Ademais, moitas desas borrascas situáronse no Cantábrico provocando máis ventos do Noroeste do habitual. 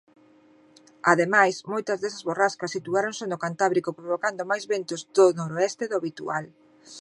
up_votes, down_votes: 0, 2